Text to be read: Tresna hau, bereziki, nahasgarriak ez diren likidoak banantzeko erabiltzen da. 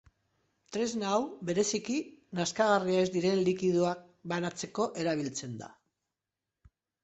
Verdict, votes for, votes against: rejected, 1, 2